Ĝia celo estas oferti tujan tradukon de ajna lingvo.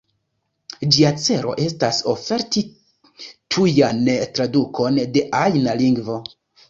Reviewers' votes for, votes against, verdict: 1, 2, rejected